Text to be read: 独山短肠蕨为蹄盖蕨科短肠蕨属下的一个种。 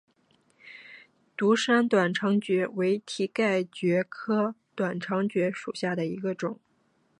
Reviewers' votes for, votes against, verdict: 2, 0, accepted